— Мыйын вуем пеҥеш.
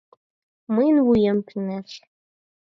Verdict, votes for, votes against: accepted, 4, 0